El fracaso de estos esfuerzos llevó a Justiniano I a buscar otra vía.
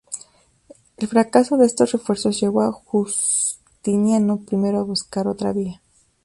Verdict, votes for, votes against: rejected, 0, 2